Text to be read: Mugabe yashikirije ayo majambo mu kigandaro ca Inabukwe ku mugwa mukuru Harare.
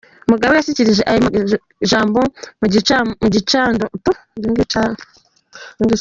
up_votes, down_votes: 0, 3